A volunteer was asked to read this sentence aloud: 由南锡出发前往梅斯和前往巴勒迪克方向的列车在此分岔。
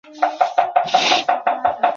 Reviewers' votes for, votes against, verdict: 2, 3, rejected